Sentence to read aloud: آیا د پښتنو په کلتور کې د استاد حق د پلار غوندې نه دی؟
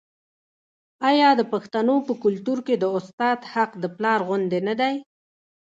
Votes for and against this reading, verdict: 0, 2, rejected